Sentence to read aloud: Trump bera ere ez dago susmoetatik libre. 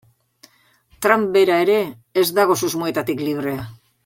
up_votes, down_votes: 2, 0